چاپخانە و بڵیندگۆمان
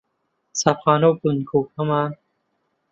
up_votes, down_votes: 0, 2